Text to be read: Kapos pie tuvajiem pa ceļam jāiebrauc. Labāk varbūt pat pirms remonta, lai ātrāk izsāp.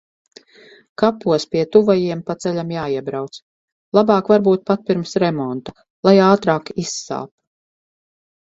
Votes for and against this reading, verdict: 4, 0, accepted